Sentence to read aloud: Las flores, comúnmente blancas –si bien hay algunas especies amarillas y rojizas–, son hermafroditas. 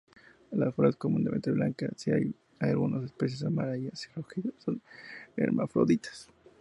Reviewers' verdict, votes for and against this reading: rejected, 0, 2